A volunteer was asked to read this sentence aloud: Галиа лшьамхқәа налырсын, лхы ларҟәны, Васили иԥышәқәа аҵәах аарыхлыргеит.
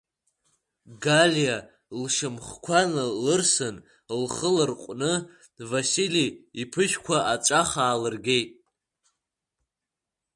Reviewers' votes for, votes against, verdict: 1, 2, rejected